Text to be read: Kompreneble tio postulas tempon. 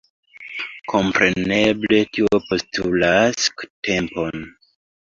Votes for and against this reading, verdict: 2, 0, accepted